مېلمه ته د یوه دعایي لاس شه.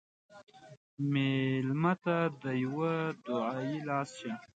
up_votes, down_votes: 1, 2